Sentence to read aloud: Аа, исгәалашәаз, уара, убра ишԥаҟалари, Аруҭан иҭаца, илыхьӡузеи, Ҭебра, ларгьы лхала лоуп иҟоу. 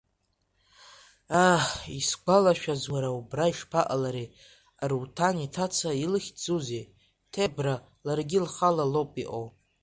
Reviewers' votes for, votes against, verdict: 2, 0, accepted